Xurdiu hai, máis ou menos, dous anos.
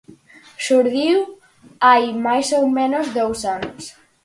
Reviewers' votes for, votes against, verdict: 4, 0, accepted